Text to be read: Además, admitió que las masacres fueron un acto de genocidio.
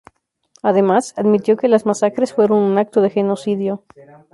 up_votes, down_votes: 0, 2